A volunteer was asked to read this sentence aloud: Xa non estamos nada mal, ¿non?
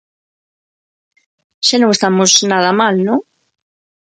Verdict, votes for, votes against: accepted, 2, 1